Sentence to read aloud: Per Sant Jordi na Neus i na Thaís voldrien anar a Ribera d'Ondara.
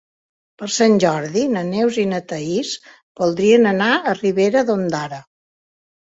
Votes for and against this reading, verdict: 4, 0, accepted